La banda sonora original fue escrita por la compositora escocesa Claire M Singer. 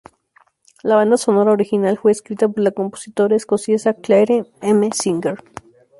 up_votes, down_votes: 0, 2